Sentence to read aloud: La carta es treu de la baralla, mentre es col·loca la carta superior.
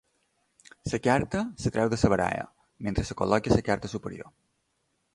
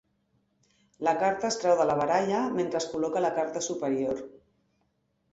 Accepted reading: second